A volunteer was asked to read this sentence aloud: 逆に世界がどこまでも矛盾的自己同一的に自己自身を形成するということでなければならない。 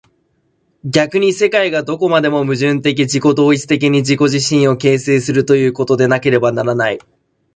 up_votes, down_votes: 2, 1